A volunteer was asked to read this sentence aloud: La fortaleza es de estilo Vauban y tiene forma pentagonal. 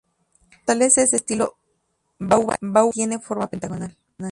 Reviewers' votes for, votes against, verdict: 0, 2, rejected